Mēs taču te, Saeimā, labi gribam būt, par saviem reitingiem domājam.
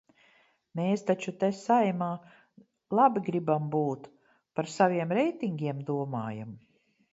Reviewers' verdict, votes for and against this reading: accepted, 2, 0